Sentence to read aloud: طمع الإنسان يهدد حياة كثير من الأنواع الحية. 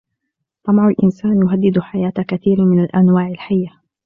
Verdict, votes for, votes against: rejected, 1, 2